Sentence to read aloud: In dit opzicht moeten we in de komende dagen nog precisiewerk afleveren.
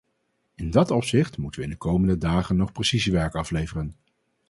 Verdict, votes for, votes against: rejected, 0, 2